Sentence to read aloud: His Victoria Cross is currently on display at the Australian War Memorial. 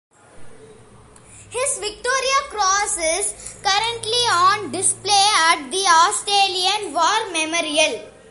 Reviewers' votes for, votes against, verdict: 2, 0, accepted